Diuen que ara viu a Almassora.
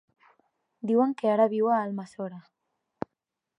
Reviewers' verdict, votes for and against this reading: accepted, 6, 0